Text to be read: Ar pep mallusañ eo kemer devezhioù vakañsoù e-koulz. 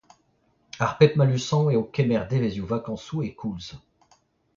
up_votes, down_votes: 0, 2